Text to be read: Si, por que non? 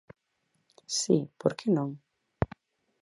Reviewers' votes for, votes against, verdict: 4, 0, accepted